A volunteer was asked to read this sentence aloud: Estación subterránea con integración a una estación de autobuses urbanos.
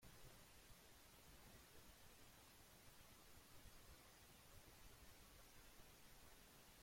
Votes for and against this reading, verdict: 0, 2, rejected